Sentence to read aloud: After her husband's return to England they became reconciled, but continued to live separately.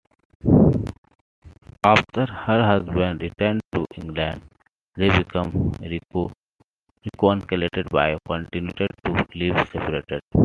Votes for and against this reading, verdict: 0, 3, rejected